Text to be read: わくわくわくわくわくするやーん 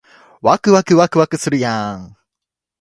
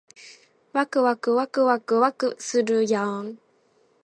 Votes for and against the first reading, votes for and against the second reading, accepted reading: 0, 2, 2, 0, second